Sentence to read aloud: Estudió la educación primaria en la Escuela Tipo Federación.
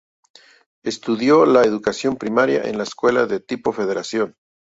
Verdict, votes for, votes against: rejected, 0, 2